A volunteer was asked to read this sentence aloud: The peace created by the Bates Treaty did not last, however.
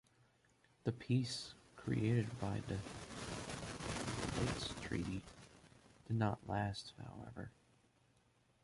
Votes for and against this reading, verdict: 2, 0, accepted